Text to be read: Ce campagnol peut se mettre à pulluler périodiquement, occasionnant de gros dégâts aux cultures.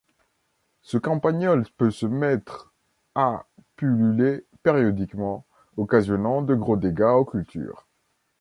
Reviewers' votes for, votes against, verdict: 2, 0, accepted